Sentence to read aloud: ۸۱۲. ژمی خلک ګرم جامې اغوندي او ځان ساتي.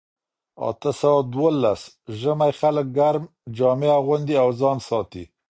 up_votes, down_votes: 0, 2